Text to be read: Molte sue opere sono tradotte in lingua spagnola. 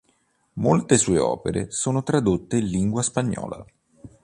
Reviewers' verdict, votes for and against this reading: accepted, 2, 0